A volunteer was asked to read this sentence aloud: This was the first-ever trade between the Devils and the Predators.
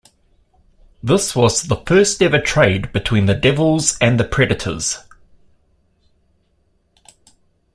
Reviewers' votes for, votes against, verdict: 2, 0, accepted